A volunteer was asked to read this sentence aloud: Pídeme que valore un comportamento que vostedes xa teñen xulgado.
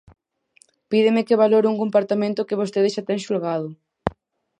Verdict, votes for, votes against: rejected, 0, 4